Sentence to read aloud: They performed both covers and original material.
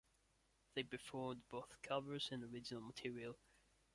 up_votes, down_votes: 1, 2